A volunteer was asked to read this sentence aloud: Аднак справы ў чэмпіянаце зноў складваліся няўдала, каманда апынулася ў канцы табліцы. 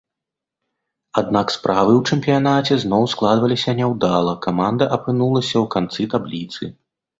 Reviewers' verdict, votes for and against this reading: accepted, 2, 0